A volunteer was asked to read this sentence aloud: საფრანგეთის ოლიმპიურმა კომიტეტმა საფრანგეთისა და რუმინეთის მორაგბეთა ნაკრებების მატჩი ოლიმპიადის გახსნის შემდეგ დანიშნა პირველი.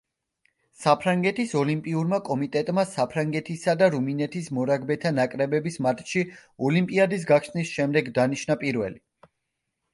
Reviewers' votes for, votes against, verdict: 2, 0, accepted